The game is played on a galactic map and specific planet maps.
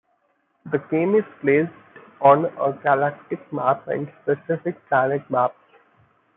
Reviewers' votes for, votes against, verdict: 1, 2, rejected